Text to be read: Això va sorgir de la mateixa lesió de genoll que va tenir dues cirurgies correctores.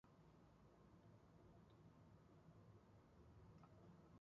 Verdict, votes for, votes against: rejected, 0, 2